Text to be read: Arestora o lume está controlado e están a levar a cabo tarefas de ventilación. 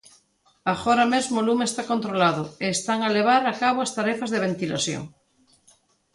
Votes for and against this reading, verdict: 0, 2, rejected